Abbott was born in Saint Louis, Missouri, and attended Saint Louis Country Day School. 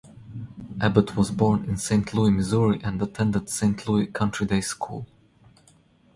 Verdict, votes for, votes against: rejected, 0, 2